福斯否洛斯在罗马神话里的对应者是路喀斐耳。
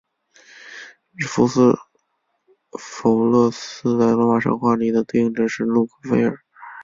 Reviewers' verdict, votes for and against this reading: accepted, 2, 1